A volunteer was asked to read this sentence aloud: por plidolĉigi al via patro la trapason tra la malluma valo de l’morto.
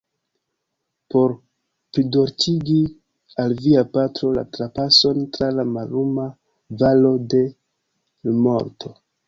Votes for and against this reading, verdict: 1, 3, rejected